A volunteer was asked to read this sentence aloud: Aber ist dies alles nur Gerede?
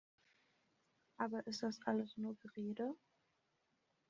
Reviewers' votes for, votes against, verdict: 1, 2, rejected